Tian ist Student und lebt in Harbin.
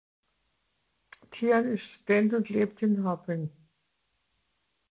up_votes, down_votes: 2, 1